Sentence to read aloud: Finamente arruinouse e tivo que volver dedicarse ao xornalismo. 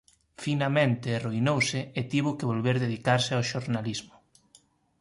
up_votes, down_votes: 2, 0